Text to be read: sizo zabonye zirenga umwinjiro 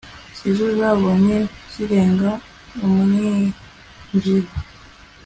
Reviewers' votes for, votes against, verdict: 2, 0, accepted